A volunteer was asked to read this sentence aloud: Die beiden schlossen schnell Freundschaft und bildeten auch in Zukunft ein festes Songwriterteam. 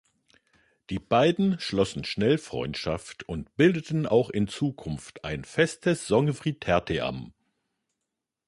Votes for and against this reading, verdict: 0, 2, rejected